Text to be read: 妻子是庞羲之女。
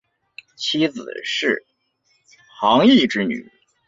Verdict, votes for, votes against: accepted, 2, 1